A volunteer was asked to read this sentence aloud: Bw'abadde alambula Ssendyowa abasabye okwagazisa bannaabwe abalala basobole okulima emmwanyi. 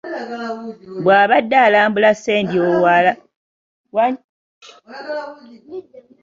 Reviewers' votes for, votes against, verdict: 1, 2, rejected